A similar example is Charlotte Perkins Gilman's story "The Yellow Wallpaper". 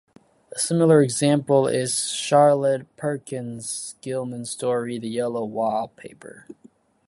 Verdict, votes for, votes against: accepted, 2, 0